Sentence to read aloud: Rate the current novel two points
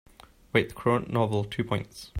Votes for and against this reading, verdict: 2, 0, accepted